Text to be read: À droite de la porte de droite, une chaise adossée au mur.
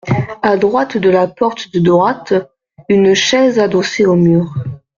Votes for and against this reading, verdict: 2, 0, accepted